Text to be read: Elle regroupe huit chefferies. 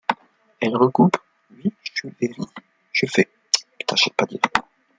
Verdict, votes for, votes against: rejected, 0, 2